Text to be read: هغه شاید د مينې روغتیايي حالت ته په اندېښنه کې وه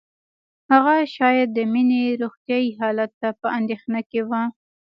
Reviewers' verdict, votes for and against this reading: rejected, 0, 2